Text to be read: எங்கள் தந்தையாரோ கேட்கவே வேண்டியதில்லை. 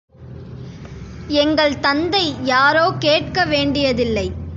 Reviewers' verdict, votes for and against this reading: rejected, 1, 2